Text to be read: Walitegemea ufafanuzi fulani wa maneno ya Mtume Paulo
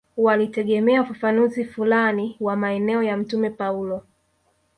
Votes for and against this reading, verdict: 0, 2, rejected